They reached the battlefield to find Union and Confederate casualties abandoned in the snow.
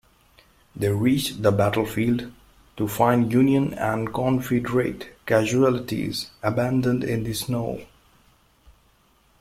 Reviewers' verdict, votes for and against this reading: accepted, 2, 0